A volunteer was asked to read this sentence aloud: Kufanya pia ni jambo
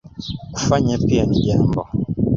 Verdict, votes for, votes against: accepted, 2, 1